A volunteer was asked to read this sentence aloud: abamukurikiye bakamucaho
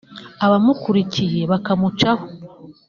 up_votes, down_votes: 2, 0